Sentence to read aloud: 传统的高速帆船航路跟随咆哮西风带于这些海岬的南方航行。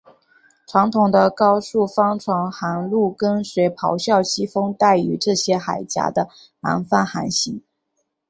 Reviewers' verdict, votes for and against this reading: accepted, 6, 1